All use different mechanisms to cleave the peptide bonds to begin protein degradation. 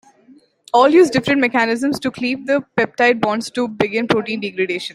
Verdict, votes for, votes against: accepted, 2, 1